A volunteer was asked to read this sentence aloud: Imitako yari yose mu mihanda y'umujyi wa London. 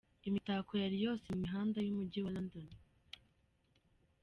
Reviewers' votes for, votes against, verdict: 0, 2, rejected